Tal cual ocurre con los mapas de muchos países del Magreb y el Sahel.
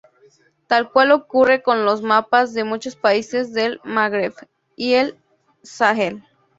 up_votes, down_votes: 2, 0